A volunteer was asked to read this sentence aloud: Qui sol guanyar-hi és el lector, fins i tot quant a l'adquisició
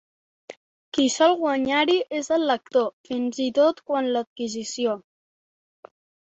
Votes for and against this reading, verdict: 0, 2, rejected